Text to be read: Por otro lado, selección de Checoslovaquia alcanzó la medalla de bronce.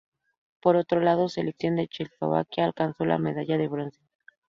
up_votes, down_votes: 0, 2